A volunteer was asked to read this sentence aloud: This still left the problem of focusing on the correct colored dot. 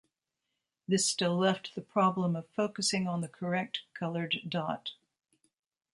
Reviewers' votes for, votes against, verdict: 2, 0, accepted